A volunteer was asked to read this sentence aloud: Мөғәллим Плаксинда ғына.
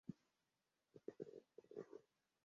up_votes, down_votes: 0, 2